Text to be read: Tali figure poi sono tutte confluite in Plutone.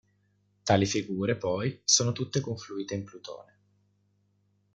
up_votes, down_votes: 2, 0